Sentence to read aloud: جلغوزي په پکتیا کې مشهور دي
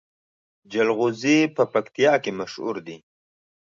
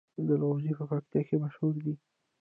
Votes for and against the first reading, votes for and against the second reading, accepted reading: 2, 0, 0, 2, first